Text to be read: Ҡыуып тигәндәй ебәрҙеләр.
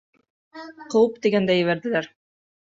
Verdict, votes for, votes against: rejected, 2, 3